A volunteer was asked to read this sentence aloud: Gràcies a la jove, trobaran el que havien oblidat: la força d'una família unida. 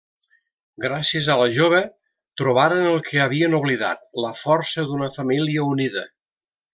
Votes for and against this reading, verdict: 1, 2, rejected